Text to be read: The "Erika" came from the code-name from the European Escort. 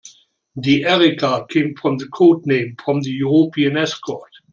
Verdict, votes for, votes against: accepted, 2, 0